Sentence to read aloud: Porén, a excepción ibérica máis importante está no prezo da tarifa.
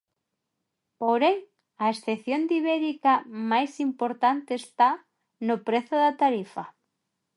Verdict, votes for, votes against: rejected, 1, 2